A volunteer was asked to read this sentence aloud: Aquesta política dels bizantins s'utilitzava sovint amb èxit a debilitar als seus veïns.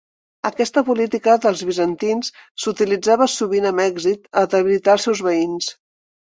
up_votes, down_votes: 2, 1